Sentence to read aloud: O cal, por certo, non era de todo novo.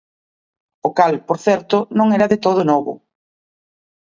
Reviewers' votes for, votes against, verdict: 2, 0, accepted